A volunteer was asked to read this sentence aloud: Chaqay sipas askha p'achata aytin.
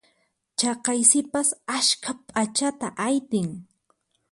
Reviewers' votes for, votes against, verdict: 4, 0, accepted